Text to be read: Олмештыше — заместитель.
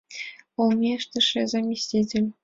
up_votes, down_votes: 2, 0